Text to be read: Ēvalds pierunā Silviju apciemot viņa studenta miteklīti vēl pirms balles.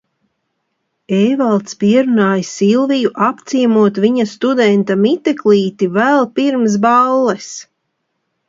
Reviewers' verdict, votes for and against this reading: accepted, 2, 0